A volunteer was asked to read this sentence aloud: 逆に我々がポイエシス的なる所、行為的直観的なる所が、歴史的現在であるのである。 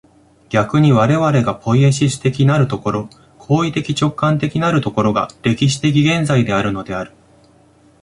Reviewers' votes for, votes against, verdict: 2, 0, accepted